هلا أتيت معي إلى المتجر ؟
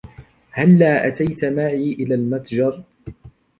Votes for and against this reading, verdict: 0, 2, rejected